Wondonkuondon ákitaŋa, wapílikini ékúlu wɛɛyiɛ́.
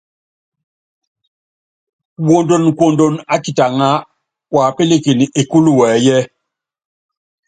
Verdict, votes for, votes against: accepted, 3, 0